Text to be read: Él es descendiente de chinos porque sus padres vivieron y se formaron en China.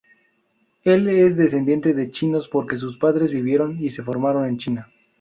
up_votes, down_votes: 4, 0